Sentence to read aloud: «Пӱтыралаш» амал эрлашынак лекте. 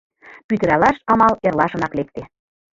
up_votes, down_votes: 2, 0